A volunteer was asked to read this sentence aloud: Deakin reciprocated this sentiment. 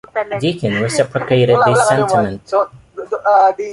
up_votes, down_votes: 0, 2